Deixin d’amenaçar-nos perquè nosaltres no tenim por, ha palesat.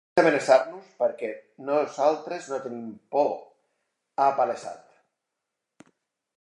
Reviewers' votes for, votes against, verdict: 0, 2, rejected